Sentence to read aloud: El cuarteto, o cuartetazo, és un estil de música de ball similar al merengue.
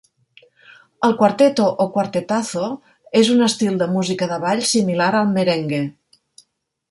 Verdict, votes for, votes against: rejected, 1, 2